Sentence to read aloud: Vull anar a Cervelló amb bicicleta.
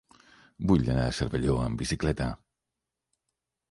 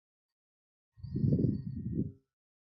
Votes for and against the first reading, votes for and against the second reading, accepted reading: 6, 0, 0, 2, first